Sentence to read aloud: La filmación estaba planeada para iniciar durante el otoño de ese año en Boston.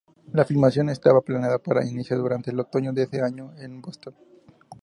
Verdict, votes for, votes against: accepted, 4, 0